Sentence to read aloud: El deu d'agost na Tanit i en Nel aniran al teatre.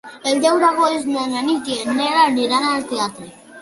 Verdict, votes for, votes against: rejected, 0, 2